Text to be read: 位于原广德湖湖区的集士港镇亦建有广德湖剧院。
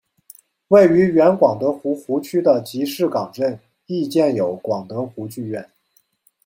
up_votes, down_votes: 2, 0